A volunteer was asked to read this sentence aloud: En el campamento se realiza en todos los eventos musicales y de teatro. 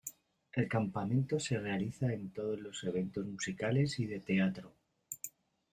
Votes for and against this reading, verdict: 0, 2, rejected